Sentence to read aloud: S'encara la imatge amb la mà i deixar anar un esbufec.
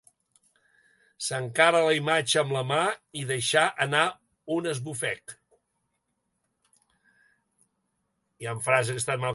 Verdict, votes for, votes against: rejected, 0, 2